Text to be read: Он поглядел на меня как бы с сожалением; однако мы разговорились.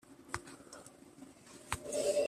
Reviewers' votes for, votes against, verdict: 0, 2, rejected